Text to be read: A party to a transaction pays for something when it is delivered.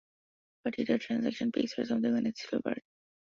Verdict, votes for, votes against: rejected, 1, 2